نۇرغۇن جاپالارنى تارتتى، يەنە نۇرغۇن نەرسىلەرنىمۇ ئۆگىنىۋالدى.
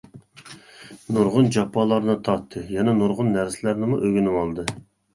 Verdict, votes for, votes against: accepted, 2, 0